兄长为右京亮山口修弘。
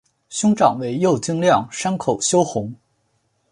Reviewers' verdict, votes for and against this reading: accepted, 6, 1